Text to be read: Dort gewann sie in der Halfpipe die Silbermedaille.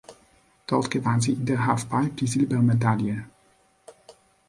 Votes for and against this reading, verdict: 2, 0, accepted